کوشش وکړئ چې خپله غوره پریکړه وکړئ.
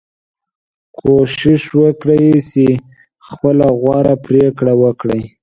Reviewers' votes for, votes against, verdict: 2, 0, accepted